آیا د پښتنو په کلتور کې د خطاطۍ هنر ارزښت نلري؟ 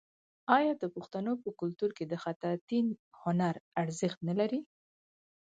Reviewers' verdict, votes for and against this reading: accepted, 4, 0